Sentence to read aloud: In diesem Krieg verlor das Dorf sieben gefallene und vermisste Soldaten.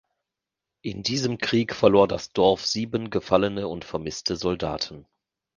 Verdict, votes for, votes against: accepted, 2, 0